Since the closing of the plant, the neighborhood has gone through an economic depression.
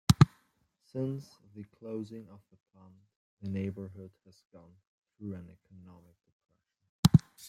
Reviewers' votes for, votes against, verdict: 2, 1, accepted